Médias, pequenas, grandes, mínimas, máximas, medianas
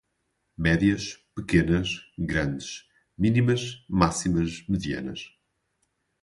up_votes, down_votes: 2, 2